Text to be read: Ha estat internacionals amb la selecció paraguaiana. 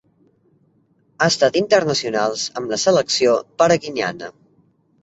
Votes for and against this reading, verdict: 0, 3, rejected